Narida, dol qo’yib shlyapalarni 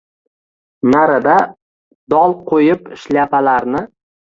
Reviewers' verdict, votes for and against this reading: rejected, 1, 2